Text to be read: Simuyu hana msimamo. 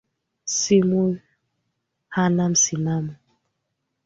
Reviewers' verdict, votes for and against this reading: rejected, 1, 3